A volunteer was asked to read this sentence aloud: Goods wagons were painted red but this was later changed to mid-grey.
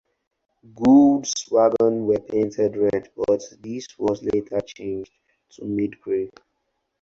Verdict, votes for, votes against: accepted, 4, 0